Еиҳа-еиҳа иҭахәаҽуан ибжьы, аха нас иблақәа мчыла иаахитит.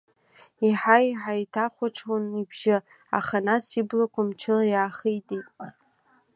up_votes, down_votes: 2, 0